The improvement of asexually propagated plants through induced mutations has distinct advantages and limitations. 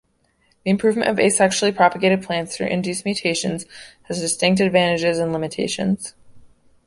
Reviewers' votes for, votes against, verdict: 0, 2, rejected